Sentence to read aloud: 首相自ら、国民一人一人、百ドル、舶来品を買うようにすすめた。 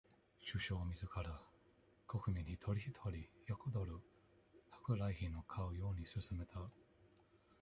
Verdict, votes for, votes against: rejected, 1, 2